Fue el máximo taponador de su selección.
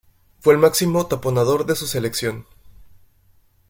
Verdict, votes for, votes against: accepted, 2, 0